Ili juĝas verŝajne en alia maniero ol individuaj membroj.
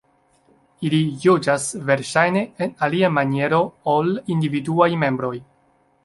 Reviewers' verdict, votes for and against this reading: accepted, 2, 0